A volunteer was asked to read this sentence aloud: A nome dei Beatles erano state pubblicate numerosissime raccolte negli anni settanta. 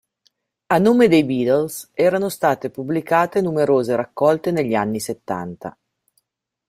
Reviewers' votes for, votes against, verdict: 0, 2, rejected